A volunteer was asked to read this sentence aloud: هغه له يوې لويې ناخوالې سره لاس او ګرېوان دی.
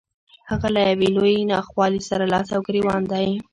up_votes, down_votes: 1, 2